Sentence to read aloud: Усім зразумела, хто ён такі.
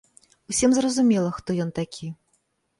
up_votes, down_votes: 2, 0